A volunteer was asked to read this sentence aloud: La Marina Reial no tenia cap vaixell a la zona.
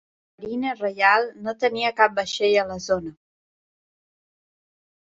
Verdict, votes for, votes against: rejected, 1, 2